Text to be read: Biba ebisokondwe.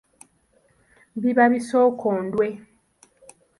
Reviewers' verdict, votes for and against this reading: accepted, 2, 0